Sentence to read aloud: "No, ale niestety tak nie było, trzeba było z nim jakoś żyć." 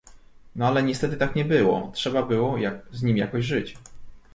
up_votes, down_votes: 0, 2